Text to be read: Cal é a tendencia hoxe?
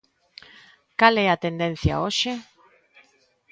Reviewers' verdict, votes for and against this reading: accepted, 3, 0